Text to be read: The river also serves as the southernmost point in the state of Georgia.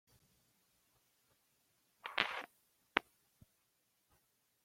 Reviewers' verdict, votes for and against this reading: rejected, 0, 2